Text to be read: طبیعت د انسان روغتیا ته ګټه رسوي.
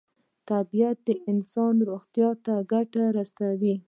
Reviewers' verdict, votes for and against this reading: rejected, 1, 2